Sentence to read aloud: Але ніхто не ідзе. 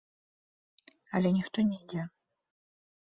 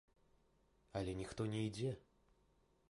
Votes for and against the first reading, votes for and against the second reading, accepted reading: 2, 3, 2, 0, second